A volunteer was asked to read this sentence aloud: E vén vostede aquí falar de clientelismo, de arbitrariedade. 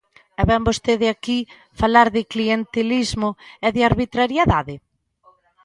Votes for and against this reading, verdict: 0, 2, rejected